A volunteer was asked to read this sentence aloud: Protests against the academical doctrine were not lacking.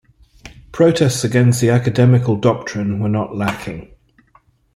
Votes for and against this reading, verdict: 2, 0, accepted